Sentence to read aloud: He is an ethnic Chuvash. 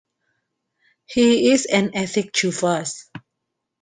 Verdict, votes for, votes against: rejected, 0, 2